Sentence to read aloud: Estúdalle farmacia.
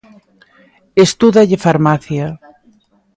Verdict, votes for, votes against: accepted, 2, 0